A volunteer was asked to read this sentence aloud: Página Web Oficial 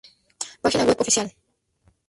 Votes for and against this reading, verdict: 2, 0, accepted